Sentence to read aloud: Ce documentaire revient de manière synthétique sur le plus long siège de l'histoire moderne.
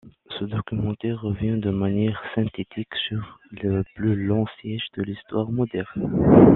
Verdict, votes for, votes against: accepted, 2, 0